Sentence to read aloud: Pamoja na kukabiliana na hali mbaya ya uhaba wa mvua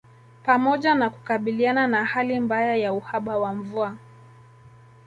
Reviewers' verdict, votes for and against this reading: accepted, 2, 0